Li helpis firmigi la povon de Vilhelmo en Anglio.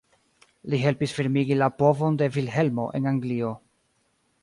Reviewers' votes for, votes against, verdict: 3, 2, accepted